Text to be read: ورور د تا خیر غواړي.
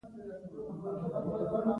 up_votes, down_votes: 0, 2